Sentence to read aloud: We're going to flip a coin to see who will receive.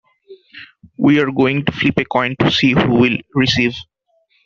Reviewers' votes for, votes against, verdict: 2, 1, accepted